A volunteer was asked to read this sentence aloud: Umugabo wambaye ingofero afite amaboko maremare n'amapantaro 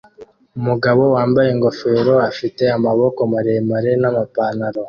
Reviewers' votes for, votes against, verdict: 2, 1, accepted